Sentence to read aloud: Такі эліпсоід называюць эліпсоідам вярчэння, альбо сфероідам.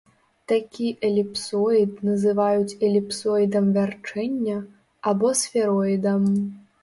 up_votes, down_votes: 1, 2